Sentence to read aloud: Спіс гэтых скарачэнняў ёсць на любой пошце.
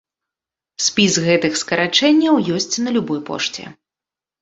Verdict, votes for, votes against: accepted, 2, 0